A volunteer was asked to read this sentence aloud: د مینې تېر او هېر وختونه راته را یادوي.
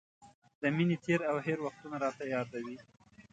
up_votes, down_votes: 4, 0